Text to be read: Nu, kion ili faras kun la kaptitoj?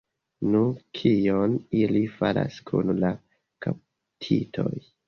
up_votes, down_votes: 2, 0